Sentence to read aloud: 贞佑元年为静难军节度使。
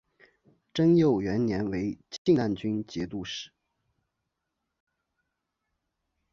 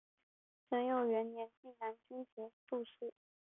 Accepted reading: first